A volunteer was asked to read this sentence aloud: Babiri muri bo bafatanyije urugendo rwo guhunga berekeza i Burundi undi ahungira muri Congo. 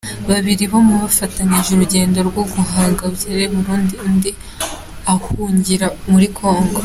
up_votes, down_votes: 2, 1